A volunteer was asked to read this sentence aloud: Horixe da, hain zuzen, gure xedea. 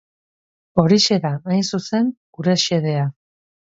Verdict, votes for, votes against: accepted, 4, 0